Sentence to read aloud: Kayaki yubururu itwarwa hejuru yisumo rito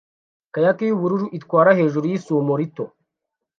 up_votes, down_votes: 0, 2